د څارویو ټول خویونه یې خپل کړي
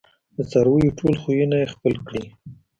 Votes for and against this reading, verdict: 2, 0, accepted